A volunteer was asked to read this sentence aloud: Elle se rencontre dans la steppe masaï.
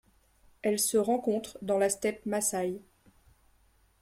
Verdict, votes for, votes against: accepted, 2, 0